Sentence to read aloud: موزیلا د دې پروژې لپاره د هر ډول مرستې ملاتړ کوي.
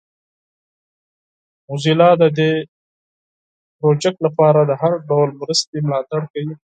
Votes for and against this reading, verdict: 2, 4, rejected